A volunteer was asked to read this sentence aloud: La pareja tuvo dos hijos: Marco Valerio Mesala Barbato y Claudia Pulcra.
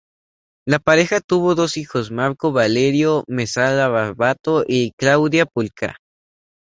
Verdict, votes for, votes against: accepted, 2, 0